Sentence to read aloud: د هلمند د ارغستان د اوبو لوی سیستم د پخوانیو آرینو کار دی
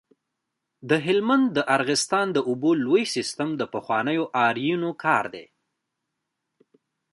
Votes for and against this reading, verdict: 0, 2, rejected